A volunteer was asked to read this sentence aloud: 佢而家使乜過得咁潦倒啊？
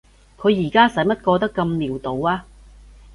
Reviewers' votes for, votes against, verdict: 2, 0, accepted